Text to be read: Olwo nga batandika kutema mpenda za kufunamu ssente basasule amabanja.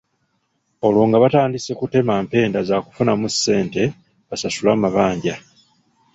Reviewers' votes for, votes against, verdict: 1, 2, rejected